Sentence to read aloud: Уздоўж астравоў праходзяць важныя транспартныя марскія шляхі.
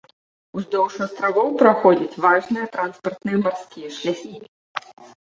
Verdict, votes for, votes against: accepted, 2, 0